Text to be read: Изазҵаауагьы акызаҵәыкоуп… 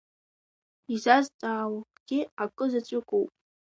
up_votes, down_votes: 1, 2